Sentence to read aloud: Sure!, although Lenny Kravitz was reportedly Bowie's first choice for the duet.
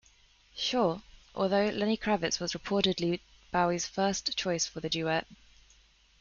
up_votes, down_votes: 2, 1